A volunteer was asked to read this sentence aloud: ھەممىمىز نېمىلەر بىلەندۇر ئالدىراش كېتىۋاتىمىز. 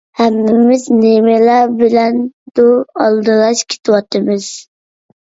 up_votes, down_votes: 2, 0